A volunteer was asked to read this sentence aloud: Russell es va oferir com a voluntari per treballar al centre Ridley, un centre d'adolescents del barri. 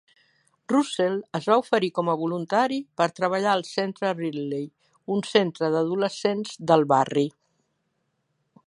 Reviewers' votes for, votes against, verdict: 3, 0, accepted